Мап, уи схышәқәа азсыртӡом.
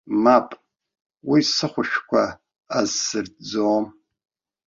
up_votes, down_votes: 0, 2